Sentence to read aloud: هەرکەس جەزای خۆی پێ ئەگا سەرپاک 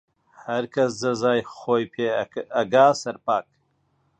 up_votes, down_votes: 0, 2